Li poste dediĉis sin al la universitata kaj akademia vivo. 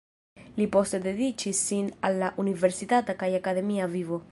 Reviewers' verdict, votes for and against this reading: rejected, 1, 2